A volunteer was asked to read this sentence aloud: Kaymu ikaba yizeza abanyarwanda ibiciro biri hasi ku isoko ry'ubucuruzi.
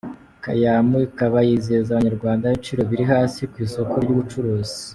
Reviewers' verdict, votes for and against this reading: accepted, 2, 0